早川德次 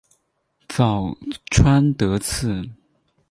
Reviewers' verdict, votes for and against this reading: accepted, 4, 0